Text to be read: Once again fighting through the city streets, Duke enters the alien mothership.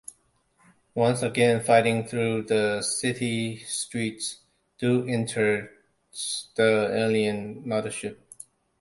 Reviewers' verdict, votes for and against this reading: rejected, 0, 2